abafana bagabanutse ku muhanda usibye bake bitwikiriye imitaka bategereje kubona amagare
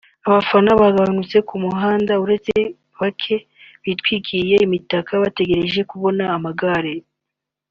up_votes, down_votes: 2, 1